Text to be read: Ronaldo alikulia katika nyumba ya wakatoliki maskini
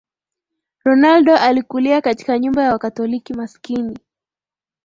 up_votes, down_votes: 2, 1